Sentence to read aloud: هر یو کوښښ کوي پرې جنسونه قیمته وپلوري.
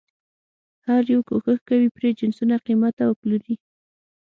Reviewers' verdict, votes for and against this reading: accepted, 6, 0